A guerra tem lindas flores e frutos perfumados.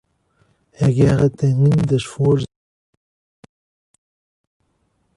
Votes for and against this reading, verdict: 0, 3, rejected